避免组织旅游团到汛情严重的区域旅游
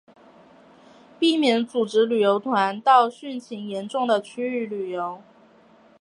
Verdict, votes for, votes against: accepted, 3, 2